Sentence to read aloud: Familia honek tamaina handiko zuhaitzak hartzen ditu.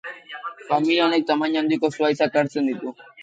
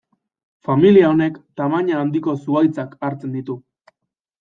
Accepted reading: second